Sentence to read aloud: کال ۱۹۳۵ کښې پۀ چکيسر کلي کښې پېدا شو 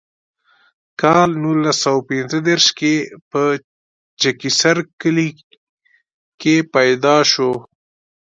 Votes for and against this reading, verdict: 0, 2, rejected